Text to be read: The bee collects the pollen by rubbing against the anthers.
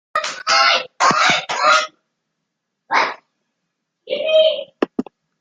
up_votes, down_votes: 0, 2